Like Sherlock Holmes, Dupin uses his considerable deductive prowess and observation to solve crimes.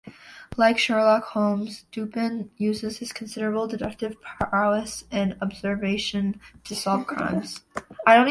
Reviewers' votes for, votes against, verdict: 2, 1, accepted